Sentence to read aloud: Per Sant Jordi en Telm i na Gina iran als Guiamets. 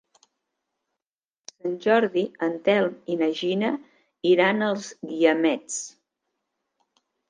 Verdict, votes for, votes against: rejected, 0, 2